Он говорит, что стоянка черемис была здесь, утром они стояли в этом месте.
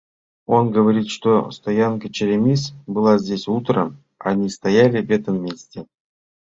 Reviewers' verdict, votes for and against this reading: rejected, 0, 2